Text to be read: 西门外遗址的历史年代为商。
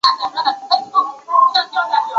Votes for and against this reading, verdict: 1, 4, rejected